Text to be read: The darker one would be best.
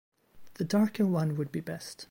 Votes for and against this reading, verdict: 0, 2, rejected